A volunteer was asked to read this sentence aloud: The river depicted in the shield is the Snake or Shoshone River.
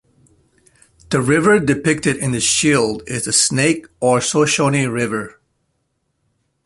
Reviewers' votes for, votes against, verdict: 2, 0, accepted